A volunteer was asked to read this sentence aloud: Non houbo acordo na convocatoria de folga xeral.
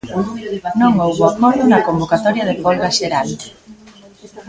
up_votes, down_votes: 0, 2